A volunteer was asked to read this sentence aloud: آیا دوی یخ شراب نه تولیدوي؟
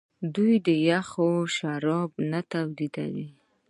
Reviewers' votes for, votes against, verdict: 2, 0, accepted